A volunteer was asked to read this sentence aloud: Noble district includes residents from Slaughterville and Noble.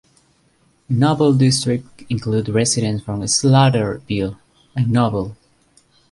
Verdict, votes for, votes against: accepted, 2, 1